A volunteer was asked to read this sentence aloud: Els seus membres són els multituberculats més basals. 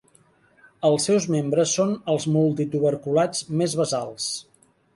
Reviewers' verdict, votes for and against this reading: accepted, 3, 0